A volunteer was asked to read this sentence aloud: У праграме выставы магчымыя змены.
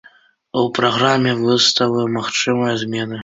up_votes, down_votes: 2, 0